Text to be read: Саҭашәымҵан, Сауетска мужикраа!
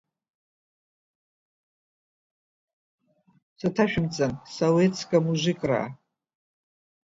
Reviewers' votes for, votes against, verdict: 1, 2, rejected